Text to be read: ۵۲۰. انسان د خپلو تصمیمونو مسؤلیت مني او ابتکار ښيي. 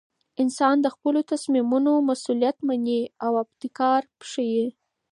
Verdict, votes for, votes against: rejected, 0, 2